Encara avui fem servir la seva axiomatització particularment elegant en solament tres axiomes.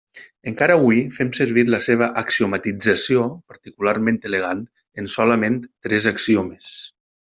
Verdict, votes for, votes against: accepted, 3, 0